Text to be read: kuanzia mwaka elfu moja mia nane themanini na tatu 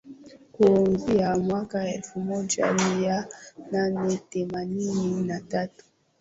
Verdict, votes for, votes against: rejected, 2, 2